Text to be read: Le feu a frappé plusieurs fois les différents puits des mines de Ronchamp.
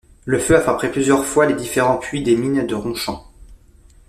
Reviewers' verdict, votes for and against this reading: rejected, 1, 2